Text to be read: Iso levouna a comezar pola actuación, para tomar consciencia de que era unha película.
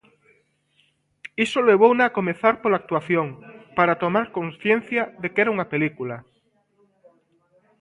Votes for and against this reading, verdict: 2, 0, accepted